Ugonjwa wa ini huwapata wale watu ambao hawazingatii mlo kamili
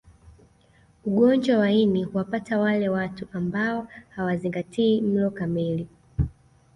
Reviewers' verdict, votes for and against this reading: accepted, 2, 0